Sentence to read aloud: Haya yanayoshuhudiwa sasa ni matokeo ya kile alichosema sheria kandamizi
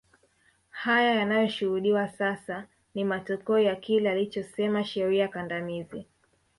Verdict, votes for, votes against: rejected, 1, 2